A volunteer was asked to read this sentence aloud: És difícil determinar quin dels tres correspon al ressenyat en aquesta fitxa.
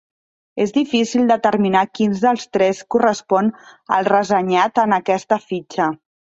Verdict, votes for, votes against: accepted, 3, 2